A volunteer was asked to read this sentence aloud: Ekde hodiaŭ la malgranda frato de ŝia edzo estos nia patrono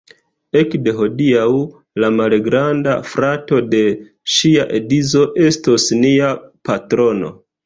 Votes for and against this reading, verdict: 1, 2, rejected